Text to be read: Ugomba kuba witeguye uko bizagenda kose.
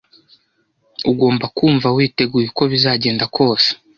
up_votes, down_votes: 1, 2